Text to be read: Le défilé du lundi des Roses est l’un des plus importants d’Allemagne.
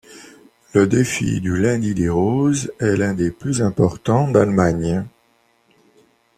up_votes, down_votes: 1, 2